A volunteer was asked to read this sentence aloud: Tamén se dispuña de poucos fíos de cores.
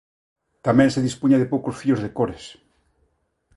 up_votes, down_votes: 2, 0